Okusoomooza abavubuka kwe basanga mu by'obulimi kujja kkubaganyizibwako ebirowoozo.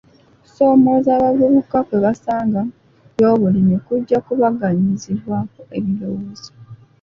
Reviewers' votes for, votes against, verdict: 0, 2, rejected